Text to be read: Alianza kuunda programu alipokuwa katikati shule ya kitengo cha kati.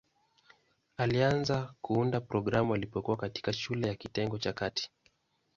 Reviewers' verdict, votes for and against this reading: accepted, 2, 0